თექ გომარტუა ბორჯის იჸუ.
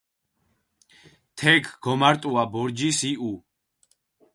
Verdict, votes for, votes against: accepted, 4, 0